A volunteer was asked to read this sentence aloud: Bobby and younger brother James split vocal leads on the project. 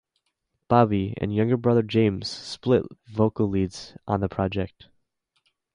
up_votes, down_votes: 2, 0